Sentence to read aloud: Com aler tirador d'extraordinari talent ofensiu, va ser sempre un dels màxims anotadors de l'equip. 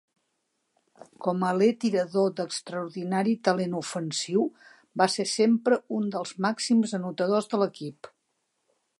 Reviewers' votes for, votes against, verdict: 2, 0, accepted